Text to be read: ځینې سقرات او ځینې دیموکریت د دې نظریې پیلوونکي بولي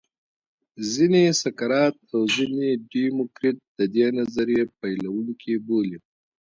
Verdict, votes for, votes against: rejected, 0, 2